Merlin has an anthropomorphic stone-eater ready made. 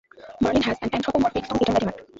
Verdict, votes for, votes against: rejected, 0, 2